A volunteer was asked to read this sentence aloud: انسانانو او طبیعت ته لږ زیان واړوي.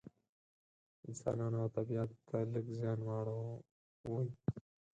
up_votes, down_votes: 2, 4